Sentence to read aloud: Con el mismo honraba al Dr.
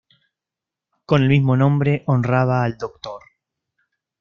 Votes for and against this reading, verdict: 1, 2, rejected